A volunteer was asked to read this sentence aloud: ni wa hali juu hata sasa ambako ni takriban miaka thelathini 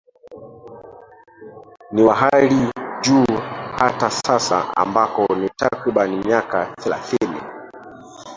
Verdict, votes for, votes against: rejected, 0, 2